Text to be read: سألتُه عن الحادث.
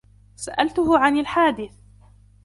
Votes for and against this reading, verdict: 2, 0, accepted